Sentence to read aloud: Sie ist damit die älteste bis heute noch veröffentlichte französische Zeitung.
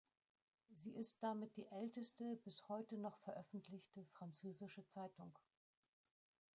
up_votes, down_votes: 0, 2